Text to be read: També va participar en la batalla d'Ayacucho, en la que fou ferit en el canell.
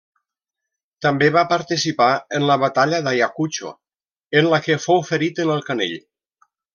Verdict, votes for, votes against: accepted, 2, 0